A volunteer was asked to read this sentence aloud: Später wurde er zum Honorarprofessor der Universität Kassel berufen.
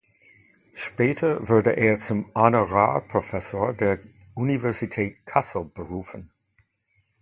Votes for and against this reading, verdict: 2, 1, accepted